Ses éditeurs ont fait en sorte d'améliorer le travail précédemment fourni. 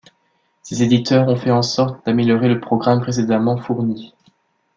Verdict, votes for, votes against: rejected, 0, 2